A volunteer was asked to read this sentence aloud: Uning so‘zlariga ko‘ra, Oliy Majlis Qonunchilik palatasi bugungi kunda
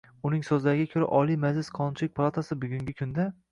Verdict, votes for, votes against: rejected, 1, 2